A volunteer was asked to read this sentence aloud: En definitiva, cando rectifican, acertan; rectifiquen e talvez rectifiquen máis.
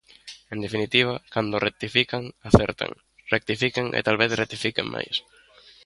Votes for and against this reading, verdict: 2, 0, accepted